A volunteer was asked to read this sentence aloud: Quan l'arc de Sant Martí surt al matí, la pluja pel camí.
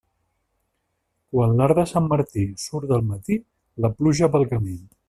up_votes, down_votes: 1, 2